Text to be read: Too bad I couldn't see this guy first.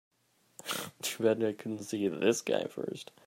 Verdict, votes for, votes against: rejected, 0, 3